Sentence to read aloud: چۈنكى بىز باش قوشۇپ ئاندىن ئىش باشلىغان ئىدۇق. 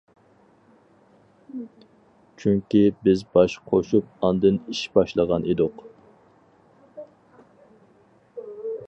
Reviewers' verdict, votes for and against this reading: accepted, 4, 0